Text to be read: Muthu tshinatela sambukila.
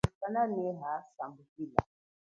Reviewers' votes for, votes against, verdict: 0, 2, rejected